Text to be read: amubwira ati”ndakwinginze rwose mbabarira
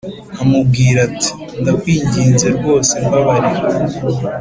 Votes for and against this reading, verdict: 2, 0, accepted